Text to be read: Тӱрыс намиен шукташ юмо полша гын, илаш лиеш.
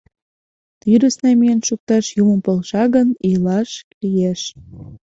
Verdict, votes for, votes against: accepted, 2, 0